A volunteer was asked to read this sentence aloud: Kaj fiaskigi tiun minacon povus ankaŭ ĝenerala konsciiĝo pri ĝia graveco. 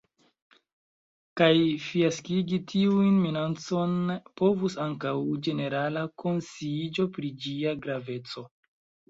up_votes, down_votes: 2, 0